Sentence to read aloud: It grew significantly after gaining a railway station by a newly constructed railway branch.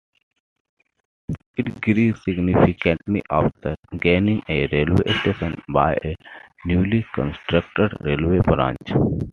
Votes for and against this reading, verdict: 2, 1, accepted